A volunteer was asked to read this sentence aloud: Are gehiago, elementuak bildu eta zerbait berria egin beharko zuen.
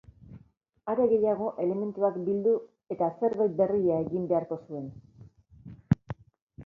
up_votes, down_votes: 2, 0